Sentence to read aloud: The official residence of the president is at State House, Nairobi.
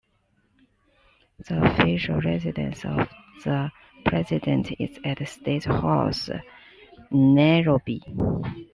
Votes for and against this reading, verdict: 2, 1, accepted